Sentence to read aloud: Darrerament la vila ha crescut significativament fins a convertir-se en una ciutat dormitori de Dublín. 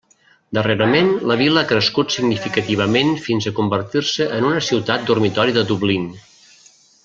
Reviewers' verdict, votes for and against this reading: rejected, 1, 2